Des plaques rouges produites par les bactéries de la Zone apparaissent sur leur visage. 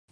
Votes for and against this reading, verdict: 0, 2, rejected